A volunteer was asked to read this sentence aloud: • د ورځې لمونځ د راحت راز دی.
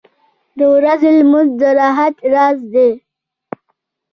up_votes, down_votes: 3, 1